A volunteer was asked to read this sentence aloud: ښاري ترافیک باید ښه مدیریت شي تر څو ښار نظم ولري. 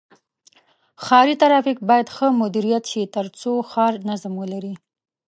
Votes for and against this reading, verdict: 2, 0, accepted